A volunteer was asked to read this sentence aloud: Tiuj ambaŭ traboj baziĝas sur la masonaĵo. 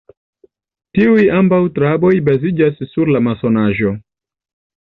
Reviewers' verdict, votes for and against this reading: accepted, 2, 0